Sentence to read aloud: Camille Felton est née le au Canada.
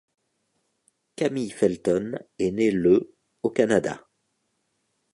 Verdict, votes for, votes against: accepted, 2, 0